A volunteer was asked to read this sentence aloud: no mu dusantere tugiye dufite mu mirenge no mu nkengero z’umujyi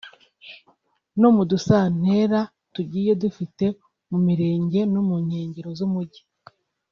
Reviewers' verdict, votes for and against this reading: rejected, 1, 2